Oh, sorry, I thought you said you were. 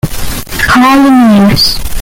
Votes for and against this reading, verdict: 0, 2, rejected